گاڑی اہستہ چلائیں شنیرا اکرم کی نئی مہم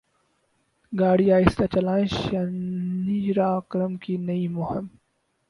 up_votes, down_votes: 2, 4